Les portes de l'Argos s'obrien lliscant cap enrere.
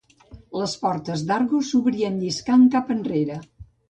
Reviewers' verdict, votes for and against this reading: rejected, 1, 2